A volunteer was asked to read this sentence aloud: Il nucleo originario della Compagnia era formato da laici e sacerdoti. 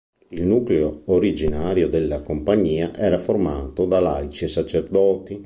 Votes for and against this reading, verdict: 2, 0, accepted